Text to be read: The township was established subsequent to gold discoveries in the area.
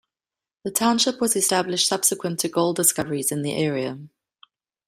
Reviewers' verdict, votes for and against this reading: accepted, 2, 0